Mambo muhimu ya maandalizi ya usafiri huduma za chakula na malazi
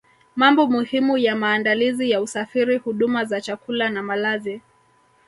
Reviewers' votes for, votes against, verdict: 1, 2, rejected